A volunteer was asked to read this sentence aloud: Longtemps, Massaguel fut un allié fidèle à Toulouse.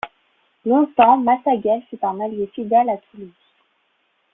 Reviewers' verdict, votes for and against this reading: accepted, 2, 1